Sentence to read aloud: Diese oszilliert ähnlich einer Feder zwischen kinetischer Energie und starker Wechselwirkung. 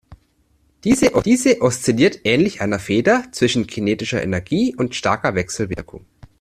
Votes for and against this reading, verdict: 0, 2, rejected